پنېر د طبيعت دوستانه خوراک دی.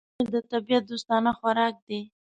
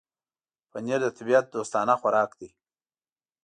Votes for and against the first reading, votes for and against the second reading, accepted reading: 1, 2, 2, 0, second